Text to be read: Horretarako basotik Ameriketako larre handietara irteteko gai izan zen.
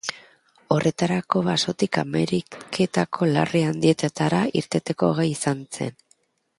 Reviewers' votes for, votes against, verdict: 1, 2, rejected